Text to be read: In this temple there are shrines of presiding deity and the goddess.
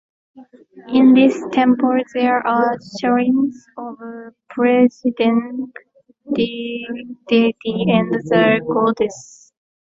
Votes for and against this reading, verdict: 0, 2, rejected